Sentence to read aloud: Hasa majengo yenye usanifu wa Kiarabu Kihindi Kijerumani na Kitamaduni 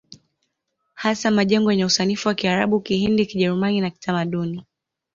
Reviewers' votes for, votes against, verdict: 2, 0, accepted